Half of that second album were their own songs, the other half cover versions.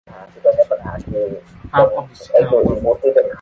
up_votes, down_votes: 0, 2